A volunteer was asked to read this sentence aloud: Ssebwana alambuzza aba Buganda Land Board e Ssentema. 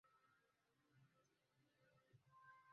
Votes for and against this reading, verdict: 0, 2, rejected